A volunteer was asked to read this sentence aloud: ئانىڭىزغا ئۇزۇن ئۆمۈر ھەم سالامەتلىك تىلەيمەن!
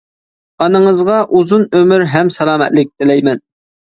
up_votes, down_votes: 2, 0